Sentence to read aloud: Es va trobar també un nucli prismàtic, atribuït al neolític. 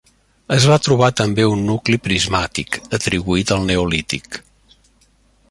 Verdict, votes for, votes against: accepted, 3, 0